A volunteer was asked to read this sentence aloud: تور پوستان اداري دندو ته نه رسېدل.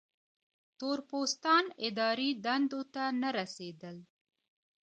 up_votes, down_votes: 2, 0